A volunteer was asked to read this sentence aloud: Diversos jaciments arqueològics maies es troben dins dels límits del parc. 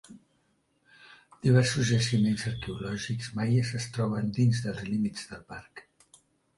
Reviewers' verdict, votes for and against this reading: accepted, 2, 0